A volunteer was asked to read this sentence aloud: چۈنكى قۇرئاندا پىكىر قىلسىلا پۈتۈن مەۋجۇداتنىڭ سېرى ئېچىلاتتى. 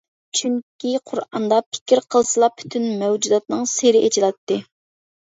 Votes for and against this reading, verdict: 2, 0, accepted